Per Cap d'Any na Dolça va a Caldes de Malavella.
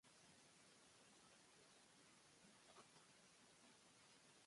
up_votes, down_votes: 1, 3